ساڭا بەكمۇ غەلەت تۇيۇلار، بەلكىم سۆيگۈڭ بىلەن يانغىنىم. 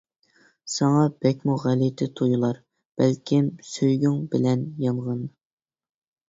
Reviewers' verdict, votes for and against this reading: rejected, 0, 2